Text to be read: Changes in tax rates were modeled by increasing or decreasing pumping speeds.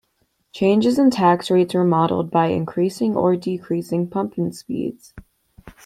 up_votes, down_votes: 2, 0